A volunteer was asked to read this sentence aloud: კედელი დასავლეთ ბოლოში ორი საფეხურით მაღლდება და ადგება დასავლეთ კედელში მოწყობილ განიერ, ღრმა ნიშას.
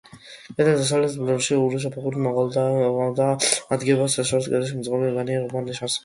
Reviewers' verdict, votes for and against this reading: rejected, 0, 2